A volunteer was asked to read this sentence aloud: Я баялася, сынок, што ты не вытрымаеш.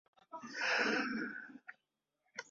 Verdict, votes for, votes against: rejected, 0, 2